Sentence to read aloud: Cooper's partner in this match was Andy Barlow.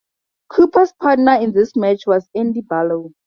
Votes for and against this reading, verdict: 4, 0, accepted